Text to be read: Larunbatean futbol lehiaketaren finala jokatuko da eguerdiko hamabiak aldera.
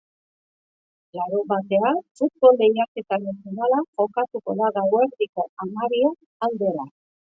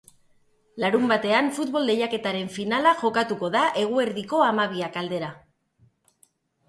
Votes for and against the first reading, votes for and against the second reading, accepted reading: 0, 3, 3, 0, second